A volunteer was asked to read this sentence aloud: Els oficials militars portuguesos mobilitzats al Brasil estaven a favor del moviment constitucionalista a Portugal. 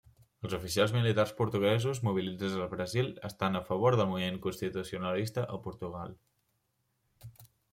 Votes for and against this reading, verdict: 0, 2, rejected